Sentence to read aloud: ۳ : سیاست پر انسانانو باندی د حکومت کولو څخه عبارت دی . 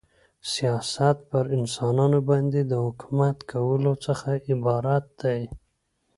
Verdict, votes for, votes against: rejected, 0, 2